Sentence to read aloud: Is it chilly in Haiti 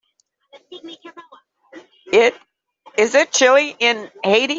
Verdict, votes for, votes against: rejected, 0, 2